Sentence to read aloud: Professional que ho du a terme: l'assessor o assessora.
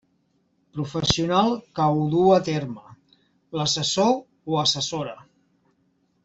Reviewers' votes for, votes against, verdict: 2, 0, accepted